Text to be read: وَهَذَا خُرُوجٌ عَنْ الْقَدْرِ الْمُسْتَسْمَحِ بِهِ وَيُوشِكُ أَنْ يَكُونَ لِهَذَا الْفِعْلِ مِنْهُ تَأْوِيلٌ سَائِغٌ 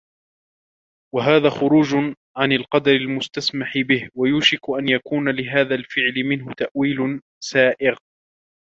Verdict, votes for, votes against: rejected, 1, 2